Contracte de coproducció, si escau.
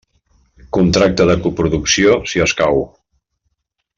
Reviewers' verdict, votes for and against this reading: accepted, 3, 0